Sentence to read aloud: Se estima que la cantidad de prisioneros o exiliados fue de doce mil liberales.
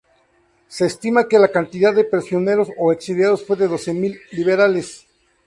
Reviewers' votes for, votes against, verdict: 0, 2, rejected